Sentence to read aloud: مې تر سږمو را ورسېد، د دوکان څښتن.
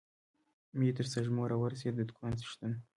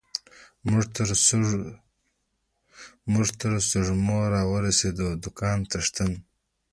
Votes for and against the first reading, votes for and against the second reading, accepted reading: 1, 2, 2, 0, second